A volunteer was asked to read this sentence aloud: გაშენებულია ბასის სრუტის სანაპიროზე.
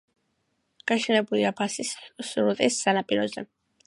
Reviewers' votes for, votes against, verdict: 2, 1, accepted